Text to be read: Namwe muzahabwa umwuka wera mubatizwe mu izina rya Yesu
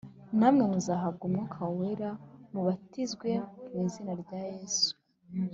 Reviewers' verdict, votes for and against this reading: accepted, 4, 0